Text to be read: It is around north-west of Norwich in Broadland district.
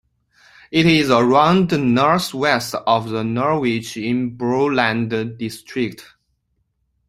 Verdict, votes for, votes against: rejected, 0, 2